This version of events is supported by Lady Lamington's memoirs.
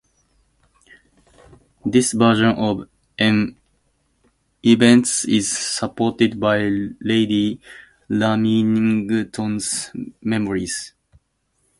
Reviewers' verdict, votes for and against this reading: rejected, 0, 2